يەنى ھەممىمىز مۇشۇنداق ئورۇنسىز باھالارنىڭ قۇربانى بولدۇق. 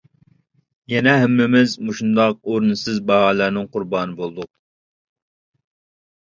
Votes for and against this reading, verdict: 1, 2, rejected